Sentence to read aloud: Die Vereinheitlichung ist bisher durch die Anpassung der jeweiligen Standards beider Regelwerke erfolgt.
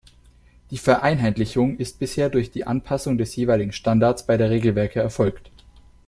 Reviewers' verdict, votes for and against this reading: rejected, 0, 2